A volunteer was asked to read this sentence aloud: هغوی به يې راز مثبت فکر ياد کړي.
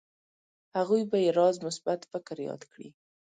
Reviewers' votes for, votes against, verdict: 2, 0, accepted